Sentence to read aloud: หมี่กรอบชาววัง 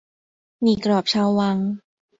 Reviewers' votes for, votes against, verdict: 2, 0, accepted